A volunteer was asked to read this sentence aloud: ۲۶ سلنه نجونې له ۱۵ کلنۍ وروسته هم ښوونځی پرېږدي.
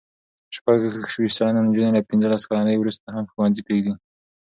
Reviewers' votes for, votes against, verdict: 0, 2, rejected